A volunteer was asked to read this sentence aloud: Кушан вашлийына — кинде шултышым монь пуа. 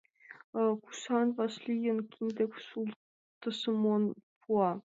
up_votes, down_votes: 0, 2